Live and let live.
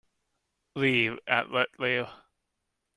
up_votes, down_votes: 1, 2